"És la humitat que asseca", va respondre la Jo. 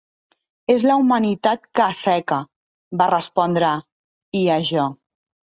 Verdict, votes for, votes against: rejected, 0, 2